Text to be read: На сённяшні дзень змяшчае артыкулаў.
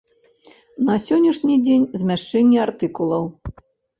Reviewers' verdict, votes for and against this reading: rejected, 0, 3